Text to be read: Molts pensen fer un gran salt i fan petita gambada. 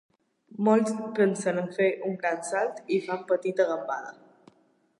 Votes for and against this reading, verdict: 0, 2, rejected